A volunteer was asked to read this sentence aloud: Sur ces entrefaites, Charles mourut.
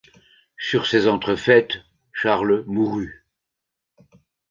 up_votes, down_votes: 2, 0